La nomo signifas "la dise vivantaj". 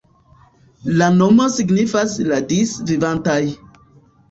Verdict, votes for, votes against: rejected, 1, 3